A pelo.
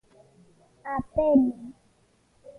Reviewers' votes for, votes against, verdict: 0, 2, rejected